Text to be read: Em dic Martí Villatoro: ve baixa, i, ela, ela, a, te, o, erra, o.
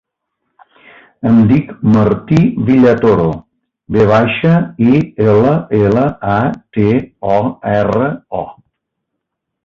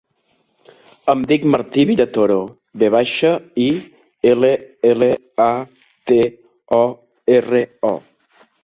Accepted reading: first